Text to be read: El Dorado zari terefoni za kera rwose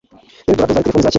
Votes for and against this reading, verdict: 1, 2, rejected